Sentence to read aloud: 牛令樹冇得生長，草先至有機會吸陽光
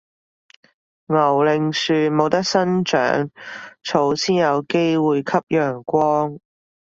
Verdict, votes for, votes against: rejected, 1, 2